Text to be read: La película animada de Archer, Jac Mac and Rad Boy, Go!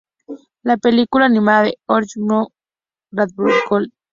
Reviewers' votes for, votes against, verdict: 2, 2, rejected